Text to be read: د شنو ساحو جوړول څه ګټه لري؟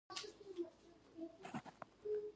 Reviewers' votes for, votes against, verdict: 1, 2, rejected